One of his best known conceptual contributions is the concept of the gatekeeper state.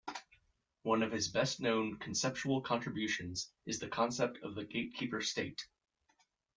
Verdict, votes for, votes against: accepted, 2, 0